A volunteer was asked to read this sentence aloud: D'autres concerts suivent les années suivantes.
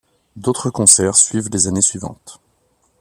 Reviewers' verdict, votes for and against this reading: rejected, 1, 2